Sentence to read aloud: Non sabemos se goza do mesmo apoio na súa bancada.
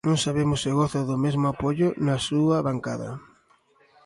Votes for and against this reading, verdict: 2, 0, accepted